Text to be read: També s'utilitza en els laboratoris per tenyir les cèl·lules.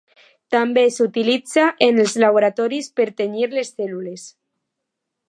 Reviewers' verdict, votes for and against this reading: accepted, 2, 0